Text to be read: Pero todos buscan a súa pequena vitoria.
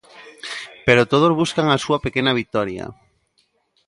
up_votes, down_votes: 1, 2